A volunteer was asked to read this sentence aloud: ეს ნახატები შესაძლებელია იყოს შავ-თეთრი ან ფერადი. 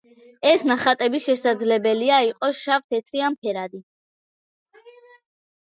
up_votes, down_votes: 2, 0